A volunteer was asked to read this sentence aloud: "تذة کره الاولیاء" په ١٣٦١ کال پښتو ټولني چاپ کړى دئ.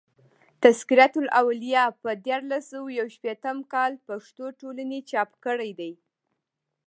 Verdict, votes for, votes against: rejected, 0, 2